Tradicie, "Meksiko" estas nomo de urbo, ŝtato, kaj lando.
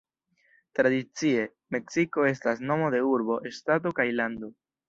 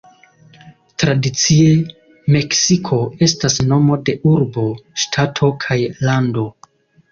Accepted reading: second